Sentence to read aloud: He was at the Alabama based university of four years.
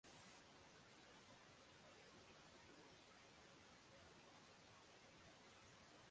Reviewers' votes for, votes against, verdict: 0, 6, rejected